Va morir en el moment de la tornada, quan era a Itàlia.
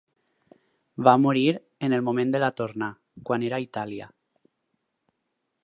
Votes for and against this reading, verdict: 0, 4, rejected